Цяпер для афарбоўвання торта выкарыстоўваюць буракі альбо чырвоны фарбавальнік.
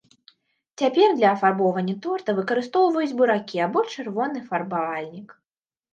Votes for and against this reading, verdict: 2, 3, rejected